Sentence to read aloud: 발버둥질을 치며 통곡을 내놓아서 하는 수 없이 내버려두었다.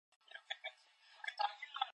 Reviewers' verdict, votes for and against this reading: rejected, 0, 2